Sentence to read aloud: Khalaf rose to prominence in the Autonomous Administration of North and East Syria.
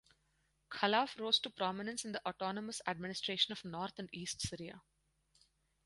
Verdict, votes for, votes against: accepted, 4, 0